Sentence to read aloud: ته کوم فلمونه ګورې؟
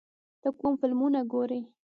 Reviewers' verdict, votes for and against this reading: rejected, 1, 2